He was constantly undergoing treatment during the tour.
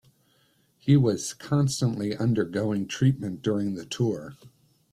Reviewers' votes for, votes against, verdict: 1, 2, rejected